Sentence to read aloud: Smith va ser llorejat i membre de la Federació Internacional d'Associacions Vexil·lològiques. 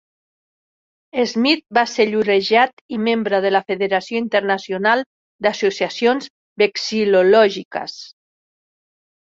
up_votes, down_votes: 4, 0